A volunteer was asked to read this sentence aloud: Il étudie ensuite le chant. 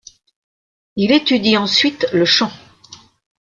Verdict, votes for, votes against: accepted, 2, 0